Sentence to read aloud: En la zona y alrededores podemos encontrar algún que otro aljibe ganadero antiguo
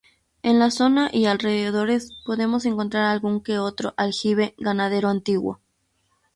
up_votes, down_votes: 2, 2